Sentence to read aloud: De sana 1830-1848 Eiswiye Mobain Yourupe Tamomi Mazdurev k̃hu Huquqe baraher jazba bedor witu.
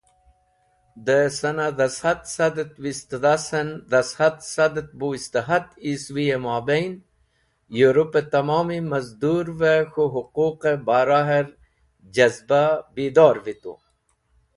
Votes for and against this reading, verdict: 0, 2, rejected